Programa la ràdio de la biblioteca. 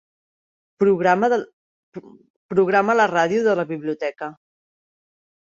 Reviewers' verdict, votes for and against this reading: rejected, 0, 2